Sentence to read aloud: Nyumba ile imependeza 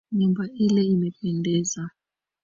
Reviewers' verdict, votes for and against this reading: rejected, 2, 3